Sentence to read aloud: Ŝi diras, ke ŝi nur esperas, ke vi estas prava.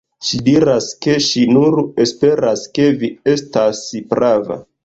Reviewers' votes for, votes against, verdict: 0, 2, rejected